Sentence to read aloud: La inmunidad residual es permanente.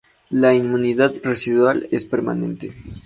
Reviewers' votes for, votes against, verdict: 4, 0, accepted